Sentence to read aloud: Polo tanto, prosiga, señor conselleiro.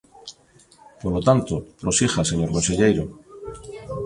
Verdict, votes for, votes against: accepted, 2, 0